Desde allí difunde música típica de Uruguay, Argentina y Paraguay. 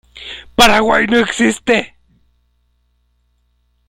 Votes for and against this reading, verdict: 0, 2, rejected